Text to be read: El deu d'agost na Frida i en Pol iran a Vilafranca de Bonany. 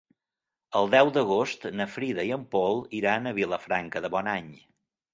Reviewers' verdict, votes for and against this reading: accepted, 5, 0